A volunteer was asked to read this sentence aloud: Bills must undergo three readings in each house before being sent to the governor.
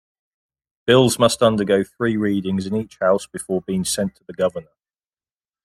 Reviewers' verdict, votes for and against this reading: accepted, 2, 0